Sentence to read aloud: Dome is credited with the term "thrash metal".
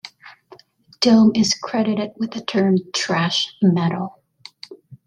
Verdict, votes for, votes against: rejected, 0, 2